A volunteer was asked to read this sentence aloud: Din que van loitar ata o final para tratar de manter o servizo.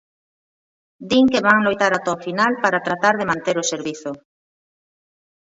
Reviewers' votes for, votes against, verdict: 2, 0, accepted